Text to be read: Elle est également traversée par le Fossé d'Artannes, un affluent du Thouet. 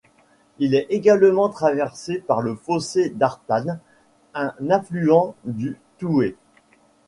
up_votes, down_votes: 0, 2